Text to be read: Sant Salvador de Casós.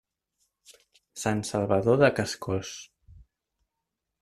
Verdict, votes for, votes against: rejected, 0, 2